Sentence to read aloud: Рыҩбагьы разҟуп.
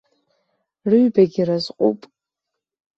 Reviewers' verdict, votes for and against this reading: accepted, 2, 0